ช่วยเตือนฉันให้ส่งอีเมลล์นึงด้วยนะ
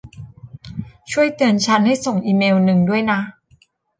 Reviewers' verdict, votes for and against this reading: rejected, 1, 2